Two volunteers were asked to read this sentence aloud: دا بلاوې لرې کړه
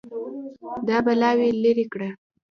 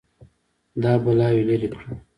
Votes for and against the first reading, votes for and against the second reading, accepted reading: 1, 2, 2, 0, second